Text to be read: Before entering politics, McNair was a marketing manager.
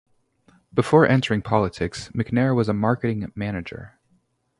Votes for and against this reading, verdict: 2, 0, accepted